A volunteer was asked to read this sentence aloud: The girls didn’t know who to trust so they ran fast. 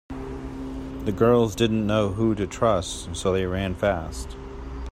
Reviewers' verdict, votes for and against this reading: accepted, 2, 0